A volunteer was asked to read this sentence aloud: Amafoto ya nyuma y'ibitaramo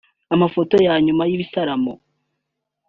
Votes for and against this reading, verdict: 3, 0, accepted